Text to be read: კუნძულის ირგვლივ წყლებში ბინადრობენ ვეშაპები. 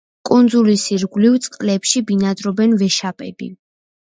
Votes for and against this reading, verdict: 2, 0, accepted